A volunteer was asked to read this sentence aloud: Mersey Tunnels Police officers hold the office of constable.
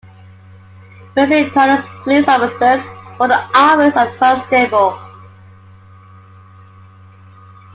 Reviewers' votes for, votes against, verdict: 1, 2, rejected